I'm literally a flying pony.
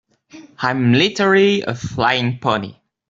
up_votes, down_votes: 2, 0